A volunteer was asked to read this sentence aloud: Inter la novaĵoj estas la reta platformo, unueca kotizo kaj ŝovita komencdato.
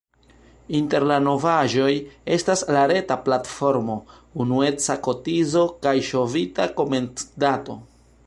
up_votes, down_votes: 2, 0